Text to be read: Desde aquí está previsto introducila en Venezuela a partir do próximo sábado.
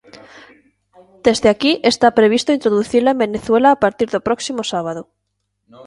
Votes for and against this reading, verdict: 2, 1, accepted